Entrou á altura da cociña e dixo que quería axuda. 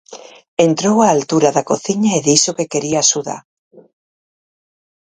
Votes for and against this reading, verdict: 4, 0, accepted